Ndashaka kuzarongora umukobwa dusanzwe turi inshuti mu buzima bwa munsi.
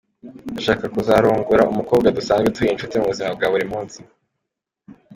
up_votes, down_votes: 2, 0